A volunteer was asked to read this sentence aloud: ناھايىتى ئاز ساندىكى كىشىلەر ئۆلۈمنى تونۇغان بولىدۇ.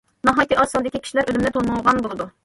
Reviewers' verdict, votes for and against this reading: rejected, 0, 2